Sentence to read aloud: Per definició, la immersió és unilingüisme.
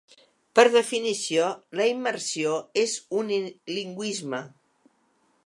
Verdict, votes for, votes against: rejected, 1, 2